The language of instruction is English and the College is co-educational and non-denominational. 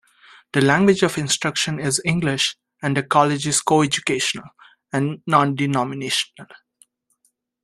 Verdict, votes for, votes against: accepted, 2, 0